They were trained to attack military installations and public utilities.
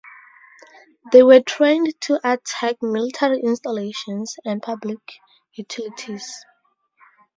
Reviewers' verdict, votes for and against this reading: accepted, 2, 0